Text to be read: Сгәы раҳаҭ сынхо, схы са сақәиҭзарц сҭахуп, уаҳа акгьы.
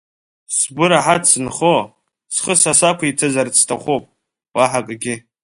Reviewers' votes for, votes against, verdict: 2, 1, accepted